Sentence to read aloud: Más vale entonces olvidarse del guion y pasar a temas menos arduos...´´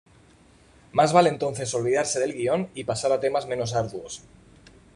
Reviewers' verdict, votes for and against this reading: accepted, 2, 0